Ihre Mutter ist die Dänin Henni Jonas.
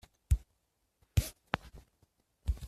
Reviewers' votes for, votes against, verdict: 0, 2, rejected